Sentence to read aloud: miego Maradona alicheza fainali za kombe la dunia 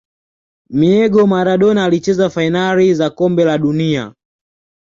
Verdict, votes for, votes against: accepted, 2, 0